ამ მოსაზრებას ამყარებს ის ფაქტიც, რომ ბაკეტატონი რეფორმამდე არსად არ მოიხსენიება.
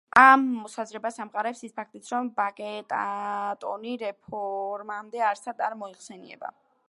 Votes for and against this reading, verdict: 2, 3, rejected